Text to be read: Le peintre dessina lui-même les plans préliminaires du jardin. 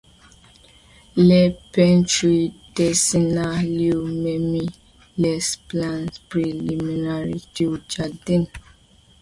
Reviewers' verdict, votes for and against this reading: accepted, 2, 0